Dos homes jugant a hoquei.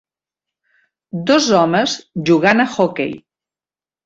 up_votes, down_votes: 1, 2